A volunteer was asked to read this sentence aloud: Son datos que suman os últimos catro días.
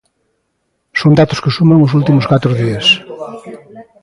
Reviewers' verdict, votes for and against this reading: rejected, 1, 2